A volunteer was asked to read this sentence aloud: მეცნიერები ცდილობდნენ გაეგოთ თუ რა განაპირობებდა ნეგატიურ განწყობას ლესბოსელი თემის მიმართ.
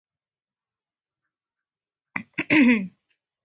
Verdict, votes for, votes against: rejected, 0, 2